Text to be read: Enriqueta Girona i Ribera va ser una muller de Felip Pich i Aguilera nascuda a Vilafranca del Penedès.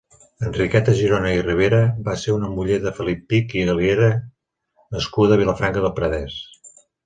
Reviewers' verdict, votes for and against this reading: rejected, 2, 3